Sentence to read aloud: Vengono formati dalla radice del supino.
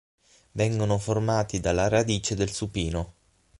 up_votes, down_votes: 9, 0